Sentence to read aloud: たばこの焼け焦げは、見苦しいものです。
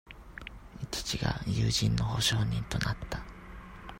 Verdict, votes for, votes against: rejected, 0, 2